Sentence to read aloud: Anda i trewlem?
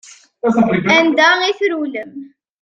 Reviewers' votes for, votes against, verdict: 0, 2, rejected